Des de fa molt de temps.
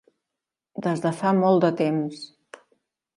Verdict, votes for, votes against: accepted, 3, 1